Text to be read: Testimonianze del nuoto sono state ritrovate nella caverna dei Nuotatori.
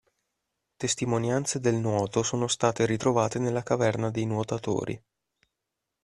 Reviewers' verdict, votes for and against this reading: accepted, 2, 0